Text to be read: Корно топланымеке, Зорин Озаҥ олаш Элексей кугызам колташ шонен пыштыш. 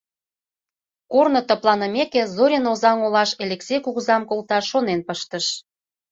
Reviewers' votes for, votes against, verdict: 1, 2, rejected